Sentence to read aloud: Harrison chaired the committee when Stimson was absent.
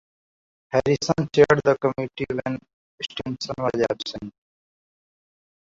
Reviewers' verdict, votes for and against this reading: rejected, 0, 2